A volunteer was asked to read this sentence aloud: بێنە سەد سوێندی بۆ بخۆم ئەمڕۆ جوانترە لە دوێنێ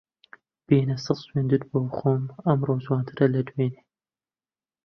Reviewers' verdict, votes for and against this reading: rejected, 0, 2